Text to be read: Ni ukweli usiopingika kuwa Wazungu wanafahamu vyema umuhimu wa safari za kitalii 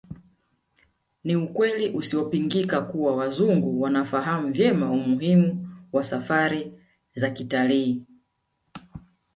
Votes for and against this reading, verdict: 0, 2, rejected